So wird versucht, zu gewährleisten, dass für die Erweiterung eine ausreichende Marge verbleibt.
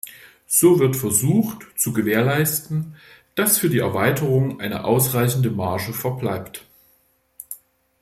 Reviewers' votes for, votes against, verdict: 2, 0, accepted